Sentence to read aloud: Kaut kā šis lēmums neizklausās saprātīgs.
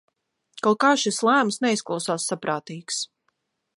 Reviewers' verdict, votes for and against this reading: rejected, 1, 2